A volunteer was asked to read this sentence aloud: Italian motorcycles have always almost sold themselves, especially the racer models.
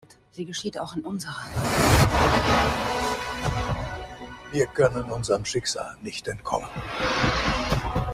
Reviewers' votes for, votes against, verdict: 0, 2, rejected